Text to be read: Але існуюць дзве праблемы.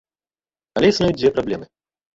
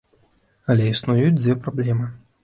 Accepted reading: second